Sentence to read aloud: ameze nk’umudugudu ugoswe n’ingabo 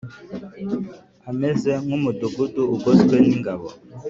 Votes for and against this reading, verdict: 2, 0, accepted